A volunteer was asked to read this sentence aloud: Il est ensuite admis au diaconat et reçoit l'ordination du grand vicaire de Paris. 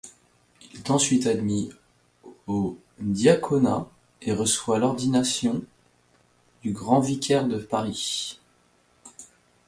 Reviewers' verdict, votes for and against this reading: accepted, 2, 0